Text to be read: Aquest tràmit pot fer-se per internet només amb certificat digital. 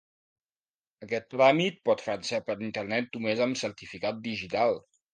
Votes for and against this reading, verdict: 2, 0, accepted